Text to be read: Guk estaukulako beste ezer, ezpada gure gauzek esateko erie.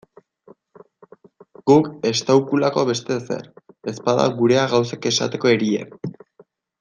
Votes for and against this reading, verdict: 0, 2, rejected